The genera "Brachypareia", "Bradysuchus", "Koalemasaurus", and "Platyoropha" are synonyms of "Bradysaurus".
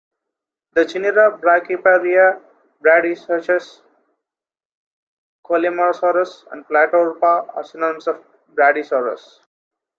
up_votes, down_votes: 2, 3